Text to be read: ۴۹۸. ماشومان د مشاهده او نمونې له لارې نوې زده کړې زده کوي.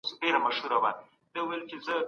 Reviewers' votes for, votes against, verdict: 0, 2, rejected